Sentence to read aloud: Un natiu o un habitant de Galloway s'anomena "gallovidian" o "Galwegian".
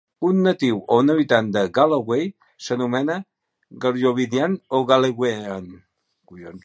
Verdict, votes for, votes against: rejected, 0, 2